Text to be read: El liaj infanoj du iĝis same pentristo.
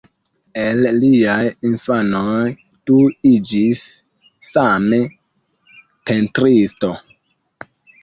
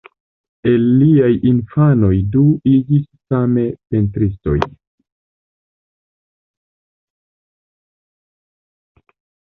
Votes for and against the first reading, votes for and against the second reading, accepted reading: 0, 2, 2, 1, second